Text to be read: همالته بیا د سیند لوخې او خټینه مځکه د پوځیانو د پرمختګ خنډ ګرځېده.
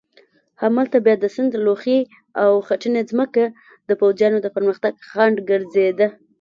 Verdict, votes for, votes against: accepted, 2, 0